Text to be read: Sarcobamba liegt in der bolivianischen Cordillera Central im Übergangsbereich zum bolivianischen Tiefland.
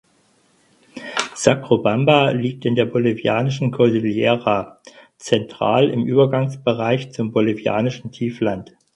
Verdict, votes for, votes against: rejected, 0, 4